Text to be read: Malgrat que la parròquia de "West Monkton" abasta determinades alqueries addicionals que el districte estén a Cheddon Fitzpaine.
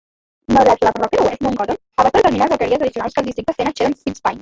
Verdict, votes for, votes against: rejected, 0, 2